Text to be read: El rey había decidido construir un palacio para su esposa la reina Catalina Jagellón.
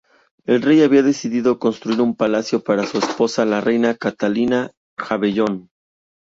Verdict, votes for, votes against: rejected, 2, 2